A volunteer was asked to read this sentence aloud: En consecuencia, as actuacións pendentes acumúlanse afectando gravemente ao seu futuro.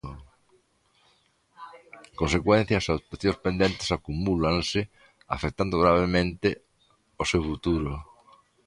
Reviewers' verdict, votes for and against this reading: rejected, 0, 2